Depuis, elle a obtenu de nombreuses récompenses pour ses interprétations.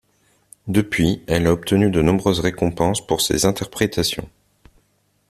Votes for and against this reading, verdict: 2, 0, accepted